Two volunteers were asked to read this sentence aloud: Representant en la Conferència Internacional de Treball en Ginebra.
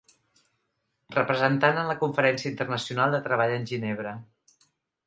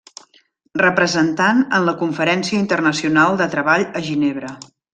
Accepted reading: first